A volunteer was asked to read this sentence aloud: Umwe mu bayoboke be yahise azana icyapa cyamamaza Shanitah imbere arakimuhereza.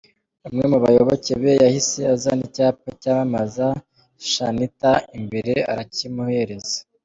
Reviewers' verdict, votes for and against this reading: rejected, 1, 2